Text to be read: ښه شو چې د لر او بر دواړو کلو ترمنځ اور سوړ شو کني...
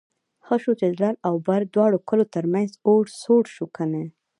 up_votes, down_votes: 0, 2